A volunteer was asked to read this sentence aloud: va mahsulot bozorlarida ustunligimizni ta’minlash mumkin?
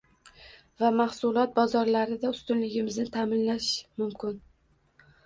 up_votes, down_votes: 2, 0